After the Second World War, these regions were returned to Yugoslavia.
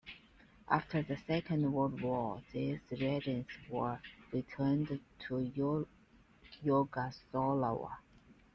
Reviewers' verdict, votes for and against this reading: rejected, 0, 2